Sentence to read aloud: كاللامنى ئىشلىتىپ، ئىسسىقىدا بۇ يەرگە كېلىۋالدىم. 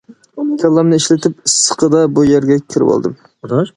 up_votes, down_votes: 0, 2